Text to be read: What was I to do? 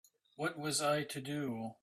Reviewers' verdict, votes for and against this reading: accepted, 2, 0